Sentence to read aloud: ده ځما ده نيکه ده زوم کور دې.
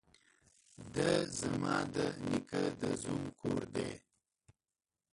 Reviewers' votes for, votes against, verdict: 0, 2, rejected